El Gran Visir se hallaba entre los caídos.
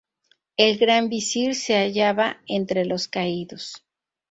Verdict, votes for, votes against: accepted, 2, 0